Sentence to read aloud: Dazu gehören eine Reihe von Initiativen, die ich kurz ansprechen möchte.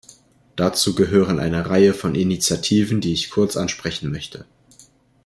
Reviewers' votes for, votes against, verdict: 2, 0, accepted